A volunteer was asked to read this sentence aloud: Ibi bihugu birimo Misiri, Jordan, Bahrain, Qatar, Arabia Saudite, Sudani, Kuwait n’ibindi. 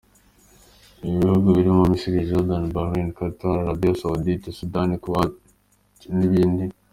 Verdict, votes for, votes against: accepted, 2, 0